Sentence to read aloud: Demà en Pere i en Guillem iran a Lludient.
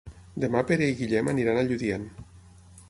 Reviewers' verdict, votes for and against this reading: rejected, 0, 9